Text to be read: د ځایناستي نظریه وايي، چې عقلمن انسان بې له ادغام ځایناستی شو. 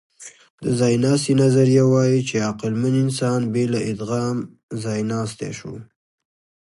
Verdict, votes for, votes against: accepted, 2, 0